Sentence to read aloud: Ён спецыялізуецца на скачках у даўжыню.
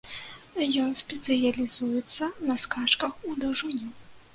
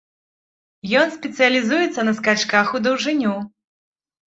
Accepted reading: second